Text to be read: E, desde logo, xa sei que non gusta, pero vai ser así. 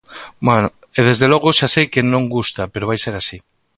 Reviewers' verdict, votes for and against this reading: rejected, 0, 2